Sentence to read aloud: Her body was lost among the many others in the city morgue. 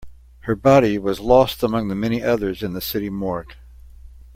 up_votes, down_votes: 2, 0